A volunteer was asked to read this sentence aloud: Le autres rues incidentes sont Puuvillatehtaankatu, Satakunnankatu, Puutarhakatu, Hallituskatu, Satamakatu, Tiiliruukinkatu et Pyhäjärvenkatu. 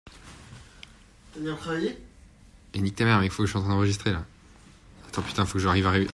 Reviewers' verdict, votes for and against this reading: rejected, 0, 2